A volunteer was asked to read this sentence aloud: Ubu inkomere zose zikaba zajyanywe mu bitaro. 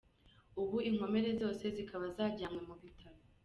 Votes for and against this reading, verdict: 2, 0, accepted